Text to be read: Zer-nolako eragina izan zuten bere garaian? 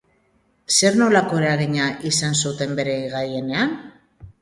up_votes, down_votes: 0, 2